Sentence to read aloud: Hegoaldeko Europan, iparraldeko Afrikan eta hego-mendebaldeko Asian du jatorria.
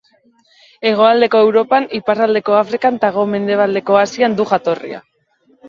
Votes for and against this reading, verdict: 1, 2, rejected